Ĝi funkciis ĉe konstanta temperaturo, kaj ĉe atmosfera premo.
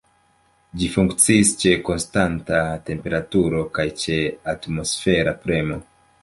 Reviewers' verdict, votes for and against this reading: accepted, 2, 0